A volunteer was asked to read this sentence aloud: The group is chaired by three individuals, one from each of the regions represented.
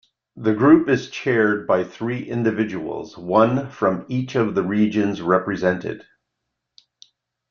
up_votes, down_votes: 2, 0